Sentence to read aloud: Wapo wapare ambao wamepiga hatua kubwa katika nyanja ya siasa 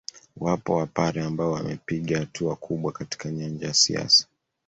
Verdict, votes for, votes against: accepted, 2, 0